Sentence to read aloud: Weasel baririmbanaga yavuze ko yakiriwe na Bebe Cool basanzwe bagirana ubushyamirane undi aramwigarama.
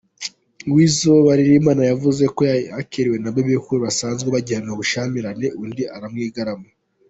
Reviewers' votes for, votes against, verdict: 1, 2, rejected